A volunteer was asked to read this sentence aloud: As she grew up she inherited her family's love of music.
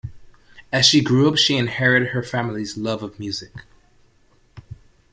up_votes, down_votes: 1, 2